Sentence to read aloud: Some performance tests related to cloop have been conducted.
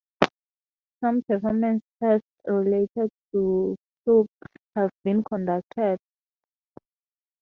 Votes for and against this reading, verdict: 2, 0, accepted